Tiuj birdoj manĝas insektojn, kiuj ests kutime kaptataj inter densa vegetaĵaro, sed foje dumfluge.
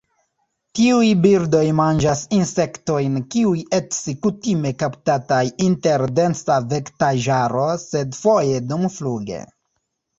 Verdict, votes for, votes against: rejected, 1, 2